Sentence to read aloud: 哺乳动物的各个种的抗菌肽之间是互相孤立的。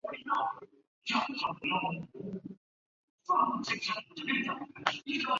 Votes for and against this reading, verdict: 0, 2, rejected